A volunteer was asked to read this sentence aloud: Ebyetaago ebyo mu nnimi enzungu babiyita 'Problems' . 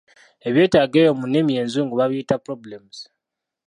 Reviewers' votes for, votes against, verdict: 2, 0, accepted